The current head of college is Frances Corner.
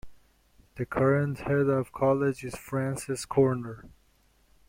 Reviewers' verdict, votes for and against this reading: accepted, 2, 0